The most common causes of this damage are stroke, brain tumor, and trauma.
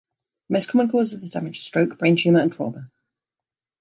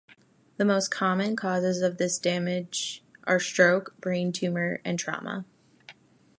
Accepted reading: second